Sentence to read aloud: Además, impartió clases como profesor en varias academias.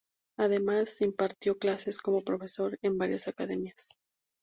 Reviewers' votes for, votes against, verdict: 2, 0, accepted